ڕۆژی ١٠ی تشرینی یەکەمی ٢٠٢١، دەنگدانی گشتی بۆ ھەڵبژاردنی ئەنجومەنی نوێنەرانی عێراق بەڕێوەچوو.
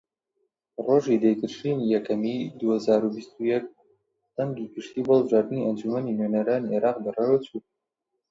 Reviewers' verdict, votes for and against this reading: rejected, 0, 2